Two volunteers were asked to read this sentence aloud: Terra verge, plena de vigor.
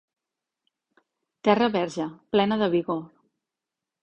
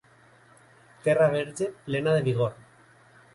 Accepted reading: first